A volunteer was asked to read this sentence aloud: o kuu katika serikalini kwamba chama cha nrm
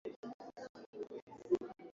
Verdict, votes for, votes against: rejected, 0, 2